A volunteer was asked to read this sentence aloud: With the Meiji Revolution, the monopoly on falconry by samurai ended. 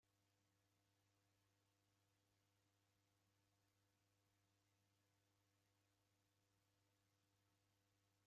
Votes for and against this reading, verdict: 0, 2, rejected